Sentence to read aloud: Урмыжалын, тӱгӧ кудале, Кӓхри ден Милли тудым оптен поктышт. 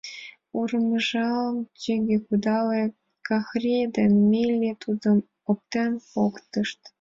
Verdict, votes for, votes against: accepted, 3, 1